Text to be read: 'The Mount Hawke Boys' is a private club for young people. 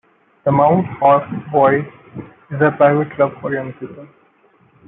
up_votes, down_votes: 1, 2